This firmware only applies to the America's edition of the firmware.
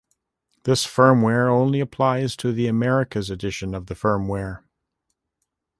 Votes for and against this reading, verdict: 2, 0, accepted